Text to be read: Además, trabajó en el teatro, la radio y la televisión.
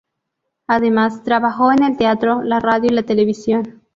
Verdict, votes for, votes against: accepted, 2, 0